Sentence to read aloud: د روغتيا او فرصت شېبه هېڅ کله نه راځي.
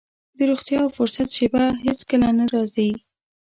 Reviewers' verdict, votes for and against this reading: accepted, 2, 0